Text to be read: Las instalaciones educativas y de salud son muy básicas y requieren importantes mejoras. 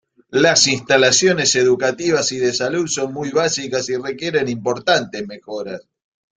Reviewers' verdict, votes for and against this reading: accepted, 2, 0